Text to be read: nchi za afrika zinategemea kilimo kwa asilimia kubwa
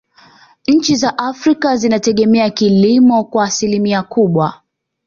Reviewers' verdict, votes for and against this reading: accepted, 2, 0